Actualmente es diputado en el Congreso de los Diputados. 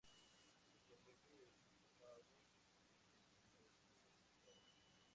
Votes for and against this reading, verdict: 0, 2, rejected